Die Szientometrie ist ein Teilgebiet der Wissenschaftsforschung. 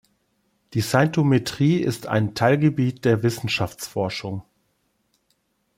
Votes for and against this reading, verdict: 0, 2, rejected